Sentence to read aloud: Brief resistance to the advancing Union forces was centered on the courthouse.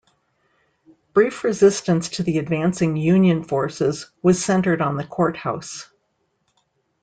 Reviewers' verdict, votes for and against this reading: accepted, 2, 0